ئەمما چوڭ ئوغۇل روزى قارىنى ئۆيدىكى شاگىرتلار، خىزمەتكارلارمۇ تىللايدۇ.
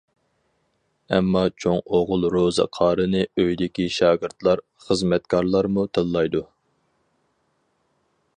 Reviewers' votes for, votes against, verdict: 4, 0, accepted